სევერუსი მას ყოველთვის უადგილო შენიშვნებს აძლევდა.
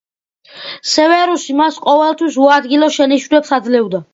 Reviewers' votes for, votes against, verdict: 2, 0, accepted